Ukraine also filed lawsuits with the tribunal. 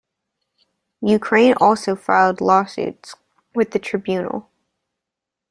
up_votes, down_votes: 1, 2